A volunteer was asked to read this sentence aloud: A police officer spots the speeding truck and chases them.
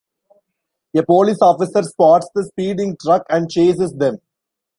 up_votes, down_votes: 1, 2